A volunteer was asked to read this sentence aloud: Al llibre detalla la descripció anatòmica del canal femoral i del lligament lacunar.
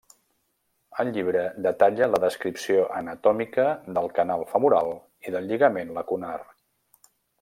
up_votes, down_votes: 2, 0